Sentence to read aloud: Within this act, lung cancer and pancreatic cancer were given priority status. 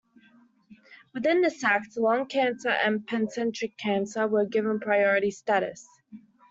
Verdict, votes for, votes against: rejected, 0, 2